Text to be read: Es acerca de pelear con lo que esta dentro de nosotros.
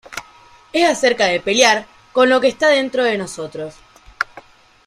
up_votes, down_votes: 2, 1